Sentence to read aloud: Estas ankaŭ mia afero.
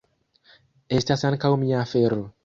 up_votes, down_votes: 2, 1